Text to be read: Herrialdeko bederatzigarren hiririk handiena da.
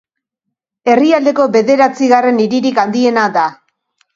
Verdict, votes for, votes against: accepted, 2, 0